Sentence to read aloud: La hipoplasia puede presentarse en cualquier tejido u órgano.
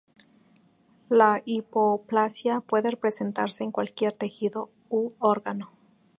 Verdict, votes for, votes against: rejected, 2, 2